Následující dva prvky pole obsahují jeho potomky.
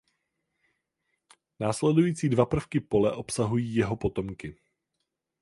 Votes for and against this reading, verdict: 4, 0, accepted